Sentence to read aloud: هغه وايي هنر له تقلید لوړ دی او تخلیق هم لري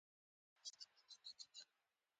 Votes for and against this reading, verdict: 0, 2, rejected